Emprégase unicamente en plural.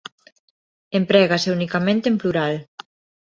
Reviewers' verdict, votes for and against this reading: accepted, 2, 0